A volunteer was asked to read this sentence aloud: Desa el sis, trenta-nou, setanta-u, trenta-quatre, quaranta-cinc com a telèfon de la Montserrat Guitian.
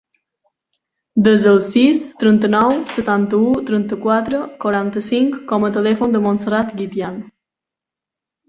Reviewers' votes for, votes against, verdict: 1, 2, rejected